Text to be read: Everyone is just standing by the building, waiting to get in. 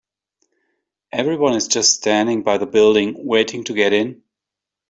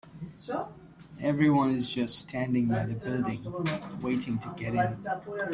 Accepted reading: first